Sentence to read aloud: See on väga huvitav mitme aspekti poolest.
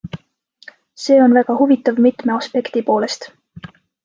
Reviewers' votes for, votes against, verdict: 3, 0, accepted